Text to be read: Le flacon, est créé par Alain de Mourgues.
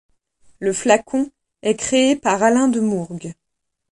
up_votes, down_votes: 2, 0